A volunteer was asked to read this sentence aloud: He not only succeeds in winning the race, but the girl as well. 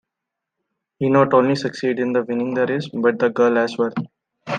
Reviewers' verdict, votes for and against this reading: accepted, 2, 0